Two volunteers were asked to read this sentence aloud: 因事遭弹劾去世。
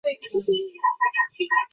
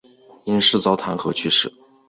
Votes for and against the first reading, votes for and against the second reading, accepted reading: 0, 2, 2, 0, second